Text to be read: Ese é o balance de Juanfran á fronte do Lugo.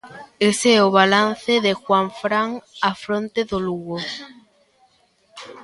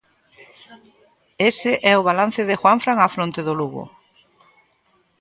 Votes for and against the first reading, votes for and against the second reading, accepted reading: 1, 2, 2, 0, second